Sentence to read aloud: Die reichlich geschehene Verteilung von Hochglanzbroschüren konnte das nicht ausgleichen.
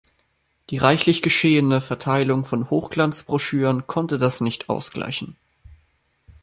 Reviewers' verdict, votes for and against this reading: accepted, 2, 0